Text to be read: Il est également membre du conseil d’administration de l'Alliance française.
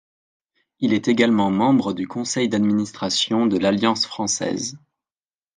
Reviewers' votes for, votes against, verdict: 2, 0, accepted